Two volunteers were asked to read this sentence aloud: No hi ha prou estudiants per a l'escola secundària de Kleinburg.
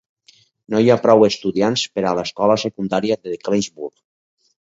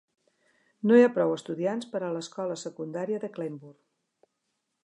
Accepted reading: second